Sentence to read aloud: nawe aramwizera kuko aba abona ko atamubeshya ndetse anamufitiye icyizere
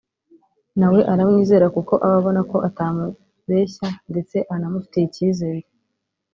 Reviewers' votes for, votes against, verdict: 2, 0, accepted